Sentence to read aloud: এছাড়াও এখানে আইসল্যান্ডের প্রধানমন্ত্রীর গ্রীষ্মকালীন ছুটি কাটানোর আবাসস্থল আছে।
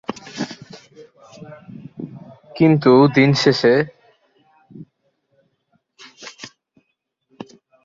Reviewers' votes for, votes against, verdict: 1, 18, rejected